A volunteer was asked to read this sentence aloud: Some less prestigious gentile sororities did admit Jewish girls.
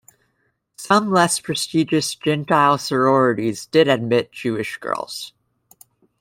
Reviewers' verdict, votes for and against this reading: accepted, 2, 0